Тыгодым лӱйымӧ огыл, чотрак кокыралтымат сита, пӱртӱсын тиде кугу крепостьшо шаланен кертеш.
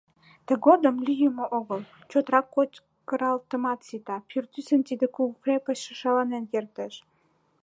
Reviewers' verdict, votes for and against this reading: rejected, 0, 2